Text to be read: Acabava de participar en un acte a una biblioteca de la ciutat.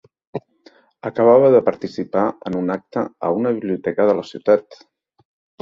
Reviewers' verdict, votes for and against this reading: accepted, 3, 0